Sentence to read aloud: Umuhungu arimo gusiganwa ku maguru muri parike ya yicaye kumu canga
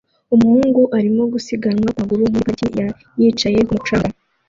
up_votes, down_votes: 1, 2